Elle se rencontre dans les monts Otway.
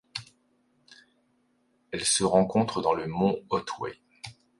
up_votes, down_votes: 1, 2